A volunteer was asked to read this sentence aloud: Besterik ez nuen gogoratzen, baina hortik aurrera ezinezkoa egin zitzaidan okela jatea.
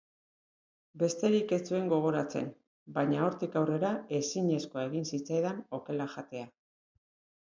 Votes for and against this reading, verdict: 0, 2, rejected